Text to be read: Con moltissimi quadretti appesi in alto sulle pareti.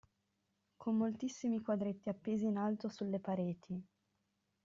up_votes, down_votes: 2, 0